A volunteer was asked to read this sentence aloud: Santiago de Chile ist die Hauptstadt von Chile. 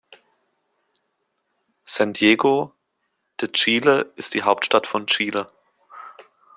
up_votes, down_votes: 1, 2